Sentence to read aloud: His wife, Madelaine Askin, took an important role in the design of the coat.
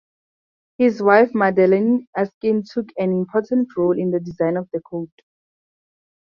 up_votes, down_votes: 0, 2